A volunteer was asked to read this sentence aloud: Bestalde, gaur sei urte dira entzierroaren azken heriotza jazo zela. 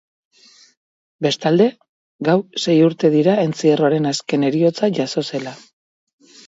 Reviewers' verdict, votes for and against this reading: rejected, 2, 2